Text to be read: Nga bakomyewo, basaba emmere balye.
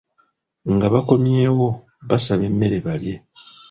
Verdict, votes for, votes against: accepted, 2, 0